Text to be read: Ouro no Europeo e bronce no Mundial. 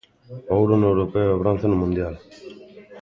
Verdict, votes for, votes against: rejected, 0, 2